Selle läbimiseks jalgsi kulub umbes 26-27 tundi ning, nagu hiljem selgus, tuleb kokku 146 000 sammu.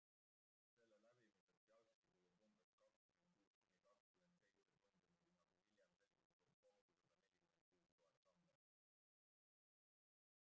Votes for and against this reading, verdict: 0, 2, rejected